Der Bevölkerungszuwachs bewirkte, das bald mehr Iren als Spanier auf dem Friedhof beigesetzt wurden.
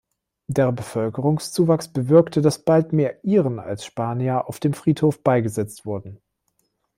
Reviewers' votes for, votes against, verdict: 2, 0, accepted